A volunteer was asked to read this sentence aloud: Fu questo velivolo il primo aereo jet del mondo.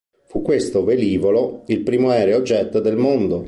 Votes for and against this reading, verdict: 2, 0, accepted